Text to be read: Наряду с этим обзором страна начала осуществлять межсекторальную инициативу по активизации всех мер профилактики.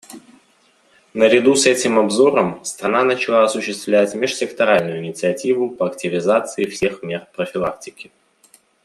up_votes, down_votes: 2, 0